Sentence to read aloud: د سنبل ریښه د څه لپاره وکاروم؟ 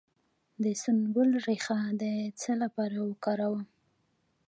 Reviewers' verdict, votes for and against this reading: rejected, 0, 2